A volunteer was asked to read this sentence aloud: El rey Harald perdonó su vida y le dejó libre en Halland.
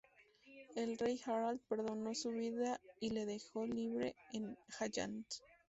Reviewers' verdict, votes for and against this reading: rejected, 0, 2